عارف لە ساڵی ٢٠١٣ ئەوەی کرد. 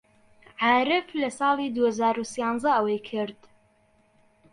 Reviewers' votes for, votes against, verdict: 0, 2, rejected